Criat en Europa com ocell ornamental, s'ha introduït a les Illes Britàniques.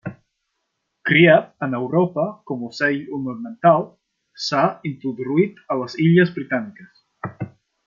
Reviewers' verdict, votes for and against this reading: accepted, 2, 1